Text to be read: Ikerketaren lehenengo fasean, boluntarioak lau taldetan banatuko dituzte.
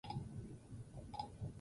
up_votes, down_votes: 0, 2